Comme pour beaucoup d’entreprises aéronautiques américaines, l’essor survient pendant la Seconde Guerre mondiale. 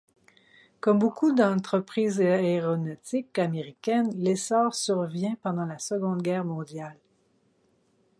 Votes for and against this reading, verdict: 0, 4, rejected